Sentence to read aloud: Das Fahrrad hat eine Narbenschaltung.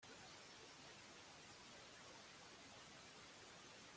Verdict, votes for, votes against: rejected, 0, 2